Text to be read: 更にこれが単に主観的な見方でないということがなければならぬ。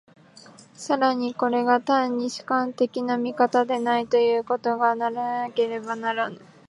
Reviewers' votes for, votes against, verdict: 0, 2, rejected